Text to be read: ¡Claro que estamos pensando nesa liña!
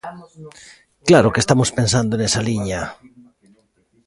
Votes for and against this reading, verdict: 2, 1, accepted